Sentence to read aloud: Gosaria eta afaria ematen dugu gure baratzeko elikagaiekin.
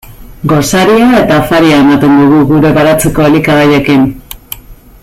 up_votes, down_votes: 1, 2